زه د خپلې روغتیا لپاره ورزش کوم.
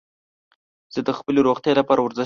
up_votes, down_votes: 0, 2